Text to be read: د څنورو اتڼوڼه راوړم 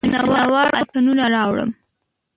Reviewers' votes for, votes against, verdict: 0, 2, rejected